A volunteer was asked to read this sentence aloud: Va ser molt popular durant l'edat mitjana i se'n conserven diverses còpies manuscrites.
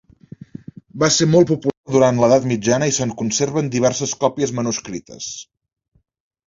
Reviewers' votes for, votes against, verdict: 1, 2, rejected